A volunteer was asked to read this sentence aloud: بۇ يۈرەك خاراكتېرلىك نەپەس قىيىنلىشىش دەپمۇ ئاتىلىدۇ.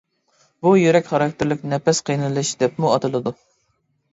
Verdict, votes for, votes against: rejected, 1, 2